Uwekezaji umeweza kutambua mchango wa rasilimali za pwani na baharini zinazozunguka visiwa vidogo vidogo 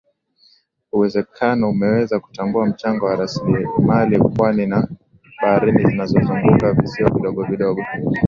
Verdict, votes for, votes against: rejected, 1, 2